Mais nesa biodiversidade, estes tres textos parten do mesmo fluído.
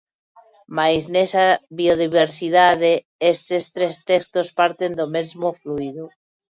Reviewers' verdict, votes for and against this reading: accepted, 2, 0